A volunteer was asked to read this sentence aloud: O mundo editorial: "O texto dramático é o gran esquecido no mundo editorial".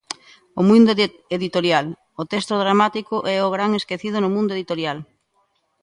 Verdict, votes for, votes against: rejected, 0, 2